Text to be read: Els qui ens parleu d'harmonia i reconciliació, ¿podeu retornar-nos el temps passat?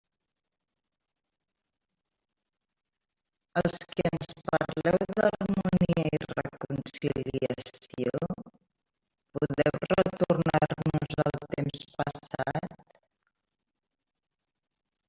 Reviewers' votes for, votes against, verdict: 1, 2, rejected